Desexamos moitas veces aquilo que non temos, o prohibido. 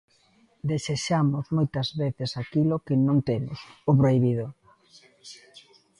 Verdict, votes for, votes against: accepted, 2, 1